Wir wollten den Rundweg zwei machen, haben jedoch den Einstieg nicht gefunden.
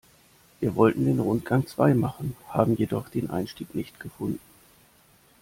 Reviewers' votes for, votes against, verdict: 0, 2, rejected